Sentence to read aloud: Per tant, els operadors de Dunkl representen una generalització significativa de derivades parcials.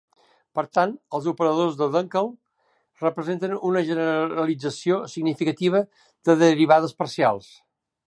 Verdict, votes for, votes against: rejected, 2, 3